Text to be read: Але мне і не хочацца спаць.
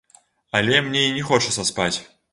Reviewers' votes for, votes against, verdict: 2, 0, accepted